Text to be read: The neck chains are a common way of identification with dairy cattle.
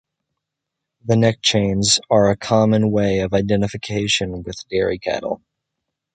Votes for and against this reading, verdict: 2, 0, accepted